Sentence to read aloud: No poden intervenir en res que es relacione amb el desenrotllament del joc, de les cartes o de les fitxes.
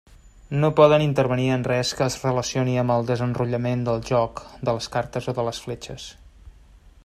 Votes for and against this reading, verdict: 0, 2, rejected